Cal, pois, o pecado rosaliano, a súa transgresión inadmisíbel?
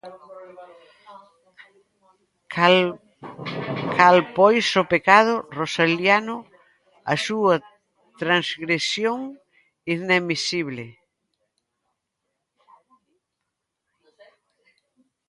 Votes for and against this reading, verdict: 0, 2, rejected